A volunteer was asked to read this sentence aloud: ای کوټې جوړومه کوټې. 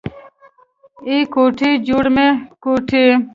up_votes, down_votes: 0, 2